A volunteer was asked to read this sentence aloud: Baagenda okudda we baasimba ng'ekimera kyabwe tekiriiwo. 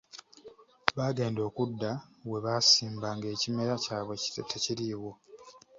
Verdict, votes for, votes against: rejected, 0, 2